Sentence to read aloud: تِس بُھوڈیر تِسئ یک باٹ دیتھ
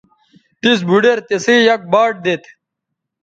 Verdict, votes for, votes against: accepted, 2, 0